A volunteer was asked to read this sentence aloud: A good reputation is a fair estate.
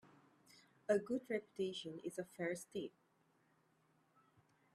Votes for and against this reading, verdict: 0, 2, rejected